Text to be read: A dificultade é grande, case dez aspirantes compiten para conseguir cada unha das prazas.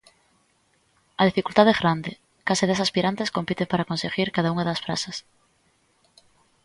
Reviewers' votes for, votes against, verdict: 2, 0, accepted